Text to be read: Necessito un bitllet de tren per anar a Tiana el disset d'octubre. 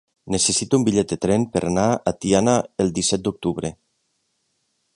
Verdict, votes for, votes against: accepted, 3, 0